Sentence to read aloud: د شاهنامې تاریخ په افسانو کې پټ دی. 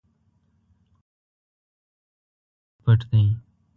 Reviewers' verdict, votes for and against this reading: rejected, 0, 2